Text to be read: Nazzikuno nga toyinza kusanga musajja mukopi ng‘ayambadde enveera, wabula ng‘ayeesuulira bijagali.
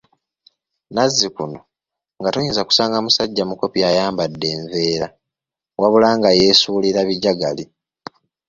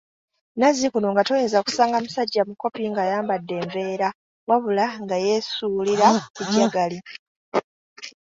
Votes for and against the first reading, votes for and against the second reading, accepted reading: 1, 2, 2, 1, second